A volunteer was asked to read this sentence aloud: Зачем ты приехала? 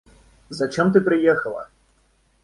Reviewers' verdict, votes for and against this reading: accepted, 2, 0